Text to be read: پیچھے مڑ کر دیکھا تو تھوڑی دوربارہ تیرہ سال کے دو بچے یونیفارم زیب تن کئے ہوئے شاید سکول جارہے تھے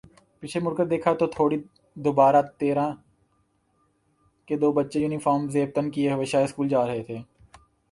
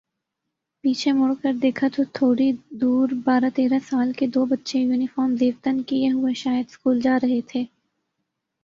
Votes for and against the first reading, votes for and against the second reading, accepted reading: 0, 3, 2, 0, second